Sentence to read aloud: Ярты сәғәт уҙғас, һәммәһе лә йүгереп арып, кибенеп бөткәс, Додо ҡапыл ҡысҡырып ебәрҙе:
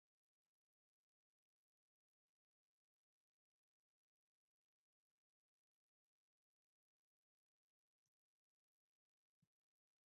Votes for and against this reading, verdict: 0, 2, rejected